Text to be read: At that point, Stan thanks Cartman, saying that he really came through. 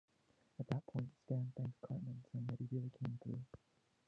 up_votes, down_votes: 0, 2